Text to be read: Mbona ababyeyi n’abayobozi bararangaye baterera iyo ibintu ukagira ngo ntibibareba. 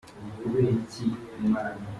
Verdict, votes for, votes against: rejected, 0, 2